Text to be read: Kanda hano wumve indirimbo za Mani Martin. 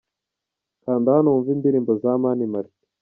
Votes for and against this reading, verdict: 1, 2, rejected